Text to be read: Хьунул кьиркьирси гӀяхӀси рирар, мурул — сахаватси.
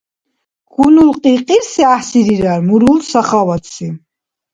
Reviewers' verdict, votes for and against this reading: accepted, 2, 0